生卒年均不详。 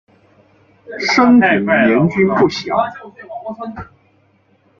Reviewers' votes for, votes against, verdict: 0, 2, rejected